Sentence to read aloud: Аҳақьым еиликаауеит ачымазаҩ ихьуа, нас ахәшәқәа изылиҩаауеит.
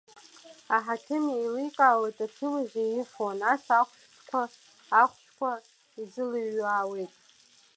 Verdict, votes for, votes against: rejected, 0, 2